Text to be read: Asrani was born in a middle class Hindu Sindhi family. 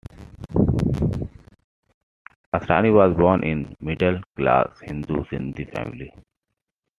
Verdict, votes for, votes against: rejected, 1, 2